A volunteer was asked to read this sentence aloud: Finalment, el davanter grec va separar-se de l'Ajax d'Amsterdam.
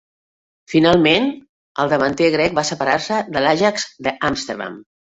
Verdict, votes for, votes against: rejected, 1, 2